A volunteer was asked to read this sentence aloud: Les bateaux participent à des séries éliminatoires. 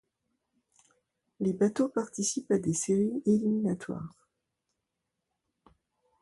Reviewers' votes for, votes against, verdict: 2, 0, accepted